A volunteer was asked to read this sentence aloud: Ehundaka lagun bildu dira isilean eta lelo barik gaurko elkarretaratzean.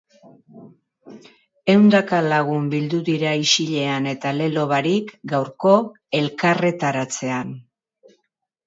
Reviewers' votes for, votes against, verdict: 2, 0, accepted